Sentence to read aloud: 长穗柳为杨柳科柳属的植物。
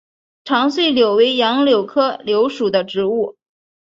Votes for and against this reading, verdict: 3, 0, accepted